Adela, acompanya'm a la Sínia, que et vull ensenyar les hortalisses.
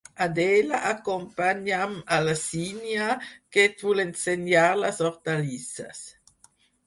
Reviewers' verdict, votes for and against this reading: accepted, 4, 0